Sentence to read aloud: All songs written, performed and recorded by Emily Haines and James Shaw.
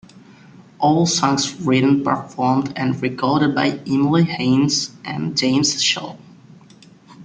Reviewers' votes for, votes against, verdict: 2, 0, accepted